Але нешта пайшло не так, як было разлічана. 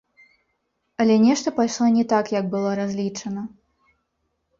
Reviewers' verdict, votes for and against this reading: rejected, 0, 2